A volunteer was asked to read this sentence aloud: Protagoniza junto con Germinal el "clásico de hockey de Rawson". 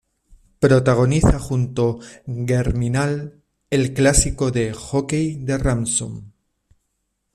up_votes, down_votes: 0, 2